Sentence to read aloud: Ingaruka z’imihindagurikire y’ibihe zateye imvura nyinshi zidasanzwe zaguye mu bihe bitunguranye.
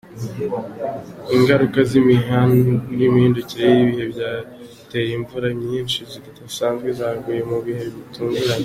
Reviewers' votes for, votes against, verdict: 0, 2, rejected